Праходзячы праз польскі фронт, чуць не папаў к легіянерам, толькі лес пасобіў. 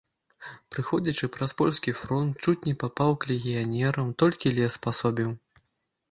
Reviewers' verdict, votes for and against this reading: rejected, 0, 2